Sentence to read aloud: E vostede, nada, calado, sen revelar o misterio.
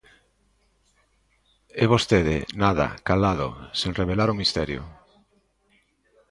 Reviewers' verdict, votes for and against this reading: accepted, 2, 0